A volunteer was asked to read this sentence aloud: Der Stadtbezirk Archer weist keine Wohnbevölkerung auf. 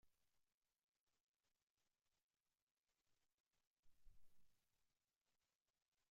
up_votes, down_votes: 0, 2